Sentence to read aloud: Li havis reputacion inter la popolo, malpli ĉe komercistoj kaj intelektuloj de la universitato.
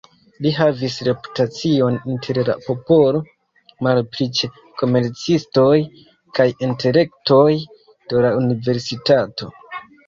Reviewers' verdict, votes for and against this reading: accepted, 2, 0